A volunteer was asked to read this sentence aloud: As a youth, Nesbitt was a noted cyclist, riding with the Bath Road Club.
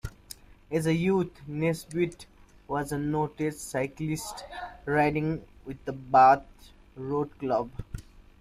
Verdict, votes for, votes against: accepted, 2, 0